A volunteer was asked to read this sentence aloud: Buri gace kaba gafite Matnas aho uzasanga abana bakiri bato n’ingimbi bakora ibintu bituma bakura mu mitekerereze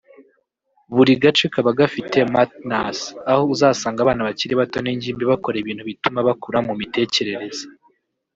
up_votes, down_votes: 1, 2